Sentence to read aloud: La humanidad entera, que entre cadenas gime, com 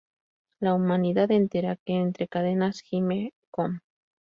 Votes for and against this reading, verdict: 2, 0, accepted